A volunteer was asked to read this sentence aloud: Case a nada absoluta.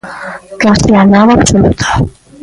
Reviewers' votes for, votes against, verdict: 2, 0, accepted